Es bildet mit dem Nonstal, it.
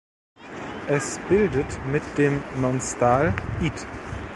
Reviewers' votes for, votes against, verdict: 1, 2, rejected